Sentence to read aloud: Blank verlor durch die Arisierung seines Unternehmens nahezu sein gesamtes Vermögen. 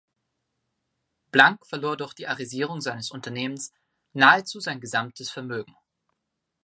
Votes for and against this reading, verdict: 2, 0, accepted